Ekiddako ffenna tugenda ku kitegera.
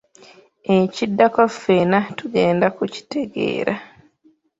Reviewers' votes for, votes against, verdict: 0, 2, rejected